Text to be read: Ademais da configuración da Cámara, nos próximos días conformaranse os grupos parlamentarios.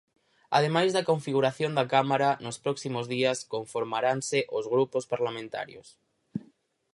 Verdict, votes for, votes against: accepted, 4, 0